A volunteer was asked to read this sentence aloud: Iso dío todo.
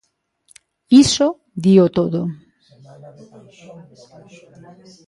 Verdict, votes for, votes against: rejected, 1, 2